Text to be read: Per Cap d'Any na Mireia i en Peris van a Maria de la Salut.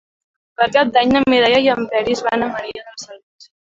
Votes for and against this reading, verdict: 2, 0, accepted